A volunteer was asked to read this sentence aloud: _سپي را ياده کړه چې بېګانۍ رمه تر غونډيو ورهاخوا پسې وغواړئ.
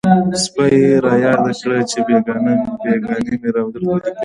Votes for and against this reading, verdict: 1, 2, rejected